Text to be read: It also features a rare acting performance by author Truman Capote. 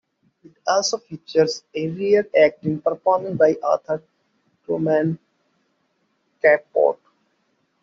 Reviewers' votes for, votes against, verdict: 0, 2, rejected